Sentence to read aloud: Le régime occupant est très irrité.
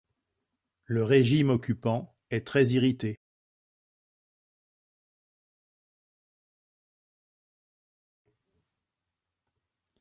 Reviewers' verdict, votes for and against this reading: accepted, 2, 0